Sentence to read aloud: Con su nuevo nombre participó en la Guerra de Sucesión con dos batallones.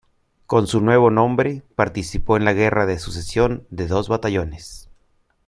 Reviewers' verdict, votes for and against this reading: rejected, 1, 2